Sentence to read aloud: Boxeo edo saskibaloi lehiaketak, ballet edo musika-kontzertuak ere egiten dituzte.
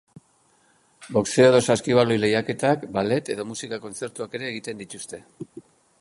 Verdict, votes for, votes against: accepted, 2, 0